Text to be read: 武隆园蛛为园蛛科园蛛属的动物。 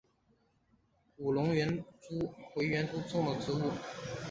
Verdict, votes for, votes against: rejected, 0, 3